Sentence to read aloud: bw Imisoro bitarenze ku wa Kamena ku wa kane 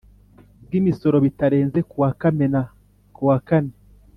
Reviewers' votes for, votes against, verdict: 2, 0, accepted